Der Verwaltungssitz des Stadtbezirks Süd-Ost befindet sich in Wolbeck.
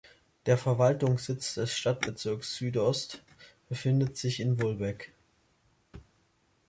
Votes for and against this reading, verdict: 2, 0, accepted